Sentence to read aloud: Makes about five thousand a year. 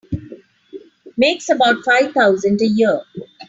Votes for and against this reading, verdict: 2, 1, accepted